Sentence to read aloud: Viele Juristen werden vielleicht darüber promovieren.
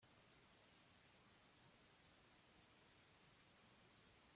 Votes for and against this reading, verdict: 0, 2, rejected